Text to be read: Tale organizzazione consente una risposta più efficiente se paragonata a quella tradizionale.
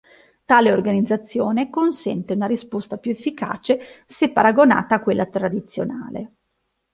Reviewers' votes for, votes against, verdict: 0, 2, rejected